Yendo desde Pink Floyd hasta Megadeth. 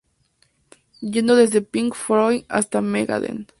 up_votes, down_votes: 2, 0